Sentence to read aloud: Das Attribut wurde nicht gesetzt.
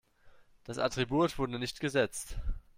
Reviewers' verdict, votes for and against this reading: rejected, 1, 2